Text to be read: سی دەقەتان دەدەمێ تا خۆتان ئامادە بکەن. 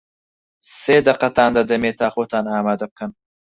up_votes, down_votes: 2, 4